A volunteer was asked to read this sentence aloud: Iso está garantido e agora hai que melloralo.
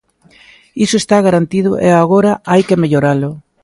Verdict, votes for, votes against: accepted, 2, 0